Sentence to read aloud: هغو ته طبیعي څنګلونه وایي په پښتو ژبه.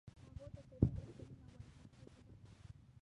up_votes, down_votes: 0, 2